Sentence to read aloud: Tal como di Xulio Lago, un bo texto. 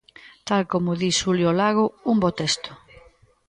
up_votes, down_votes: 2, 1